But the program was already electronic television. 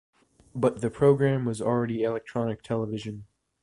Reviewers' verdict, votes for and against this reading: accepted, 2, 0